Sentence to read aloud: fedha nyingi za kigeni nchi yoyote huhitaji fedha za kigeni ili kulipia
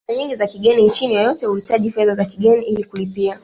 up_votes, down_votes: 2, 1